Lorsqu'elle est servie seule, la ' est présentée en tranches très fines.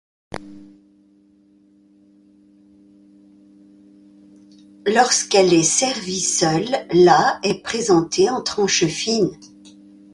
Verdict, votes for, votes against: rejected, 0, 2